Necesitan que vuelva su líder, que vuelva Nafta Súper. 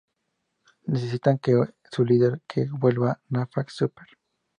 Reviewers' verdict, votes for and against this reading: rejected, 0, 2